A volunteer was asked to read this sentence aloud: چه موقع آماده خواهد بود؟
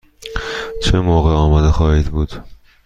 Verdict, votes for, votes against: rejected, 1, 2